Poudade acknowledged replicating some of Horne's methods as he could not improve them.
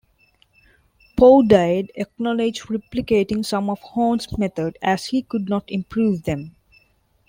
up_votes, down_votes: 0, 2